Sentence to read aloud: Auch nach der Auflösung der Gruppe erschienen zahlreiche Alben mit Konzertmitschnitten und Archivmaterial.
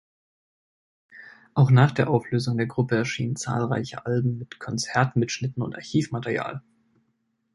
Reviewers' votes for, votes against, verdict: 1, 2, rejected